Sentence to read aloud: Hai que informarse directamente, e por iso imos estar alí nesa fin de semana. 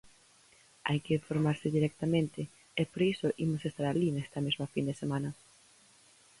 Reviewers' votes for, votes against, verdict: 0, 4, rejected